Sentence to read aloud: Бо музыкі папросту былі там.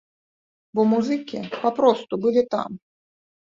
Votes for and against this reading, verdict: 2, 0, accepted